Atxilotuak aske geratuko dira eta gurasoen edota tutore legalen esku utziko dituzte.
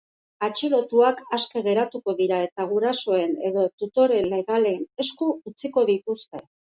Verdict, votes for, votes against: rejected, 0, 2